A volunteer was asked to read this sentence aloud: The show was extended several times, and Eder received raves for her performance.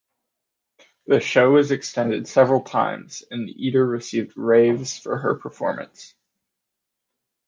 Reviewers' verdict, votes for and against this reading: accepted, 2, 0